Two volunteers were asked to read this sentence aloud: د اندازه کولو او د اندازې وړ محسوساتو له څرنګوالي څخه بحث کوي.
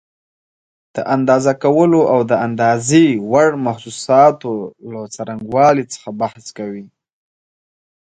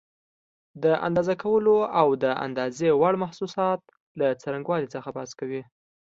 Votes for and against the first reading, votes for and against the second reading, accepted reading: 2, 0, 0, 2, first